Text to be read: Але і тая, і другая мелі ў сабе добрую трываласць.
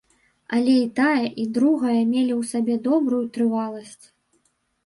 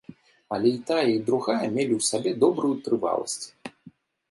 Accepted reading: second